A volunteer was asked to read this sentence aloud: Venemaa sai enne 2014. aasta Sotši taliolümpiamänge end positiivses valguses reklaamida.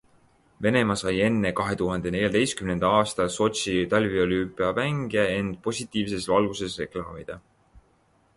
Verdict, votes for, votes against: rejected, 0, 2